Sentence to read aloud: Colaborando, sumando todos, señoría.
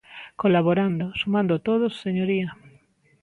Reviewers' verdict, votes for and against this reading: accepted, 2, 0